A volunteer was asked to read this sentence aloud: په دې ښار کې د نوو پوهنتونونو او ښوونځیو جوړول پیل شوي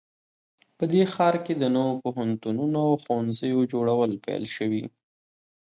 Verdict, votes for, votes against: rejected, 1, 2